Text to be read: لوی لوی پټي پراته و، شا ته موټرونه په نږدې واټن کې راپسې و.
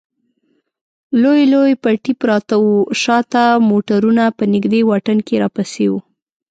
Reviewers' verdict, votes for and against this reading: accepted, 2, 0